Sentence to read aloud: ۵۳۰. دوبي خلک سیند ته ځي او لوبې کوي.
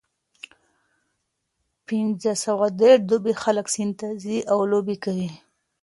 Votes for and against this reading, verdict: 0, 2, rejected